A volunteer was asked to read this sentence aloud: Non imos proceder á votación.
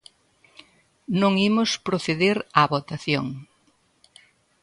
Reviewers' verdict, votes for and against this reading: accepted, 2, 0